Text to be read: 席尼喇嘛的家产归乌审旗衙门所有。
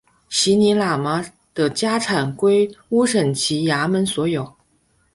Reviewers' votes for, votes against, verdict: 2, 1, accepted